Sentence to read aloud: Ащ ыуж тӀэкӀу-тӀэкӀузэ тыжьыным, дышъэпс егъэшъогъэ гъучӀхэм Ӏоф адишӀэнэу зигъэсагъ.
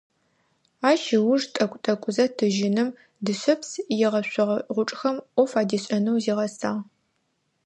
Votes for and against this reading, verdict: 2, 0, accepted